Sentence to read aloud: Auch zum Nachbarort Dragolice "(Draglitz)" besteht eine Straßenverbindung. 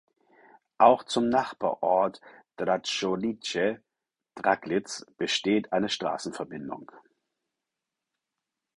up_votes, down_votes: 2, 4